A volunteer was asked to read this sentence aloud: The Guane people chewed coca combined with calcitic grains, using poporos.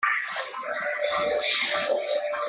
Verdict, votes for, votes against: rejected, 0, 3